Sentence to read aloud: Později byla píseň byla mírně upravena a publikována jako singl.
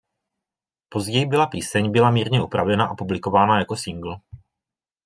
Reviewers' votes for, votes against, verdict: 2, 0, accepted